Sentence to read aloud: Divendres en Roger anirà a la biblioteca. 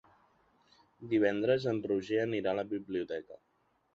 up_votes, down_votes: 3, 0